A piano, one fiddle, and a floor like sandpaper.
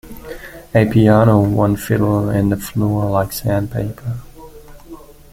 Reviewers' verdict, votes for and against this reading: accepted, 2, 1